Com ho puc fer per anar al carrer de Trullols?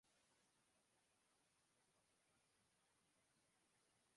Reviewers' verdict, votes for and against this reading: rejected, 0, 2